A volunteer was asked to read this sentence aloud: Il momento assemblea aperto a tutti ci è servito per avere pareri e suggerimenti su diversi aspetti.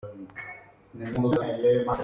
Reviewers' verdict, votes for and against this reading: rejected, 0, 2